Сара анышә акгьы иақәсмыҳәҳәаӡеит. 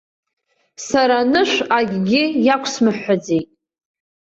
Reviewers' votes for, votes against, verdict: 2, 0, accepted